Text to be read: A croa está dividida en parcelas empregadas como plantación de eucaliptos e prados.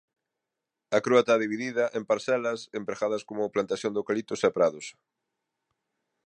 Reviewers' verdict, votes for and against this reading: rejected, 1, 2